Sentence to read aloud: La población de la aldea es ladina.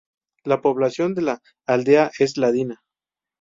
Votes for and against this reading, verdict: 2, 2, rejected